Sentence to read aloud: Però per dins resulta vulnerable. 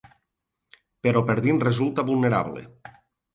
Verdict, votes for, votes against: accepted, 2, 1